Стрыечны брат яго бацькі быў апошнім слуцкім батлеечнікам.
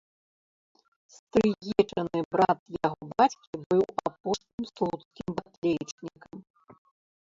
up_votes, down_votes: 0, 2